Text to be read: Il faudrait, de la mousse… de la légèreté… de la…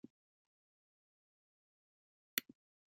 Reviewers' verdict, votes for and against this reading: rejected, 0, 2